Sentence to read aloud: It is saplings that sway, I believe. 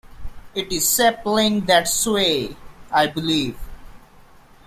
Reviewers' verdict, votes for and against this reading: rejected, 1, 2